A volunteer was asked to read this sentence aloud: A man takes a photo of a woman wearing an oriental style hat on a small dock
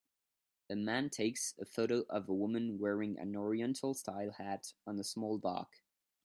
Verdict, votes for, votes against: accepted, 2, 0